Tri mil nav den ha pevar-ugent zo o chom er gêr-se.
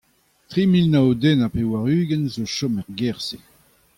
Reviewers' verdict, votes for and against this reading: accepted, 2, 0